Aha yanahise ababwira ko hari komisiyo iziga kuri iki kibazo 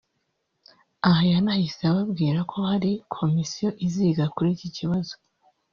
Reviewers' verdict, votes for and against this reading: rejected, 1, 2